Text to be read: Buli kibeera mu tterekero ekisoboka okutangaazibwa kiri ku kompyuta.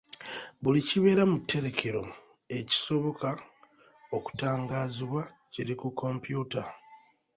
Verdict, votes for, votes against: accepted, 2, 1